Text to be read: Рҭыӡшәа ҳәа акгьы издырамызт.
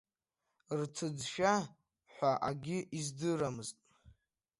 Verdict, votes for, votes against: rejected, 0, 2